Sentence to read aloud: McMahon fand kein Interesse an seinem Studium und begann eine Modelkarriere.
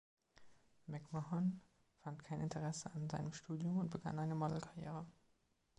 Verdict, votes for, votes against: accepted, 2, 1